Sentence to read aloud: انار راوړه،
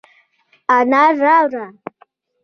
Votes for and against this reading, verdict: 2, 0, accepted